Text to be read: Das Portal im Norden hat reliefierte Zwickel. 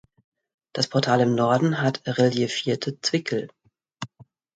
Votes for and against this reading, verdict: 2, 0, accepted